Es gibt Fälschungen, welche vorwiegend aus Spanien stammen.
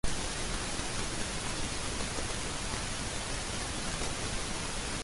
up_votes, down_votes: 0, 2